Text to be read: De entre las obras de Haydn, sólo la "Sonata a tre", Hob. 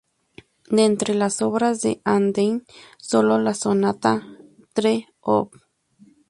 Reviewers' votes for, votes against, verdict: 0, 2, rejected